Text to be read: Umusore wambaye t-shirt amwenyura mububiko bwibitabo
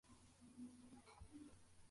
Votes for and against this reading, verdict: 0, 2, rejected